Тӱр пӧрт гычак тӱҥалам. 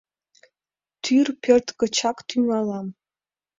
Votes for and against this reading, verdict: 2, 0, accepted